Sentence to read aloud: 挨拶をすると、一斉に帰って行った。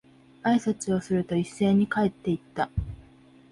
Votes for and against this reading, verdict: 3, 0, accepted